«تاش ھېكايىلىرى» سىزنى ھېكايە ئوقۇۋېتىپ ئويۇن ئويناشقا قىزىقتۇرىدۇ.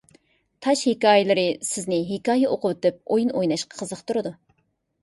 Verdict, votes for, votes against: accepted, 2, 0